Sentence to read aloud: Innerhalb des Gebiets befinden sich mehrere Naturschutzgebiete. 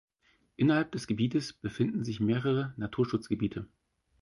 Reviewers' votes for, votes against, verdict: 2, 4, rejected